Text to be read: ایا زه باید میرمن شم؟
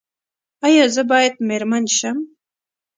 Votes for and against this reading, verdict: 2, 0, accepted